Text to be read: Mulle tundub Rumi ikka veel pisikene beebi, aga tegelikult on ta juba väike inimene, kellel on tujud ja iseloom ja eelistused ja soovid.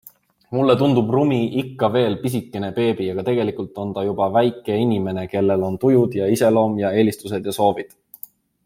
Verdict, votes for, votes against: accepted, 2, 0